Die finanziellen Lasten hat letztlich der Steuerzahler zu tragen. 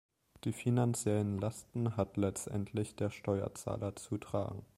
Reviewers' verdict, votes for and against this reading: rejected, 1, 2